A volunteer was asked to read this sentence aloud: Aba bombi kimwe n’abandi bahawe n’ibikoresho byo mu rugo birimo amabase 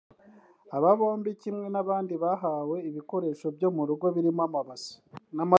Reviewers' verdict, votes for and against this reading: rejected, 0, 2